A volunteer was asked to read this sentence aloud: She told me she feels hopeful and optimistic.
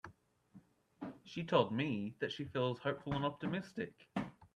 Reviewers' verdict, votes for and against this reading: rejected, 0, 2